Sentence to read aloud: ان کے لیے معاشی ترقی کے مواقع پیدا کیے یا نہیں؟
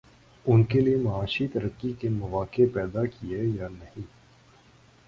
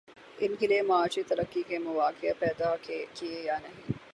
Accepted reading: second